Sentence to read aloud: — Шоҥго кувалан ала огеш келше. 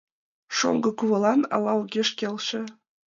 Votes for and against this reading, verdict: 2, 0, accepted